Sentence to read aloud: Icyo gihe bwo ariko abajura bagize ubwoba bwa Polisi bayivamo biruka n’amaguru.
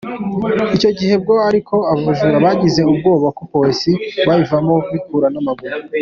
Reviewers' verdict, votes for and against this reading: accepted, 2, 1